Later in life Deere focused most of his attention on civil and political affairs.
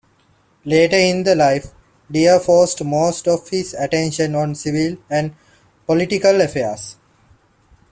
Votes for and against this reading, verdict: 2, 1, accepted